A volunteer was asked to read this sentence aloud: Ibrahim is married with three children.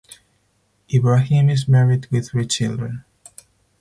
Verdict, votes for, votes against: accepted, 4, 0